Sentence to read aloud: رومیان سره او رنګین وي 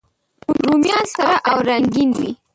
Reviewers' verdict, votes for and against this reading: rejected, 0, 2